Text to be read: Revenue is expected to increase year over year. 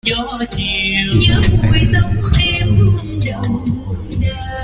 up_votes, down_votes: 0, 2